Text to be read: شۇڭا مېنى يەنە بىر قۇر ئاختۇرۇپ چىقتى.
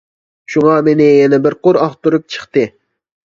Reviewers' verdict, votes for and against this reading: accepted, 2, 0